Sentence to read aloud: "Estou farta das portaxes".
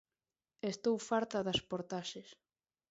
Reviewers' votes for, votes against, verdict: 2, 0, accepted